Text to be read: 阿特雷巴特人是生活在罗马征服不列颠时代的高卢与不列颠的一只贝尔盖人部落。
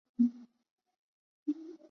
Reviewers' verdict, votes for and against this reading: rejected, 0, 5